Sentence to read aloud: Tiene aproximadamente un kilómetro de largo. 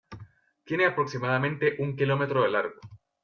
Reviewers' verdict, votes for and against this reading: accepted, 2, 0